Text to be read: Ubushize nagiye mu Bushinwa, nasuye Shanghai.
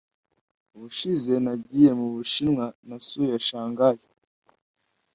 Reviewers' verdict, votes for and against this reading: accepted, 2, 0